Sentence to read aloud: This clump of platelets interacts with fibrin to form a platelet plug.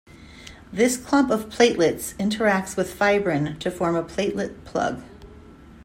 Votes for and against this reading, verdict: 2, 0, accepted